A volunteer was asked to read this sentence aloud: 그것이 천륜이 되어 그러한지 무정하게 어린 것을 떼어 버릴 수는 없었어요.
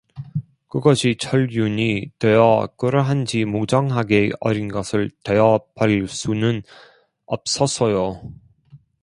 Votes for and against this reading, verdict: 0, 2, rejected